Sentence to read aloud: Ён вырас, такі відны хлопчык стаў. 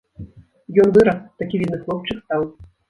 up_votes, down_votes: 1, 2